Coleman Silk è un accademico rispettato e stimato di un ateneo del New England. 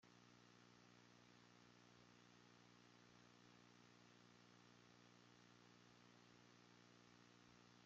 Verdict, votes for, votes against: rejected, 0, 2